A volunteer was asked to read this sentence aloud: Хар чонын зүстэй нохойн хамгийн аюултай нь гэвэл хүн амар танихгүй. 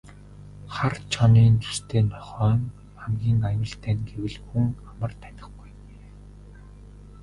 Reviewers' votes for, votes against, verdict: 1, 2, rejected